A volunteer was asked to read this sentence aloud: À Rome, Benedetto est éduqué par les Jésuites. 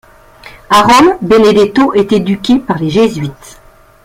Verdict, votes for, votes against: accepted, 2, 0